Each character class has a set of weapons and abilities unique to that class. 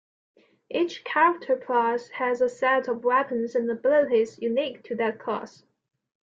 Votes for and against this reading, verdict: 2, 0, accepted